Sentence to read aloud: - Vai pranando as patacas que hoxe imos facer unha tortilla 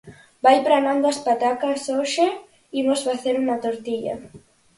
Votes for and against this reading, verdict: 0, 4, rejected